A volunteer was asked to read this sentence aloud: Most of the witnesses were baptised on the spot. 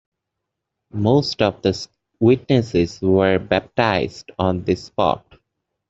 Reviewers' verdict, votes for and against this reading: accepted, 2, 1